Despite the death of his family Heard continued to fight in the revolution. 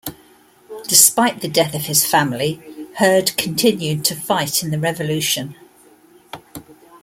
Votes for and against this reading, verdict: 2, 0, accepted